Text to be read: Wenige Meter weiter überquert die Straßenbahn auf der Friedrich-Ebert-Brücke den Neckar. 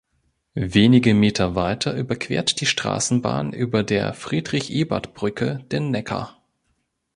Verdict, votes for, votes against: rejected, 1, 3